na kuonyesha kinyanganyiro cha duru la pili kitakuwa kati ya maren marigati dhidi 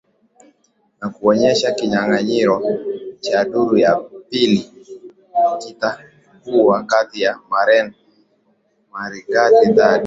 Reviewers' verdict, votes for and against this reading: accepted, 3, 0